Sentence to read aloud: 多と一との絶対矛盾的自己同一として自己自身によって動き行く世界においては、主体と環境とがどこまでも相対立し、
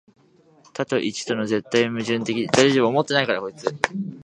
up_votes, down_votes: 3, 11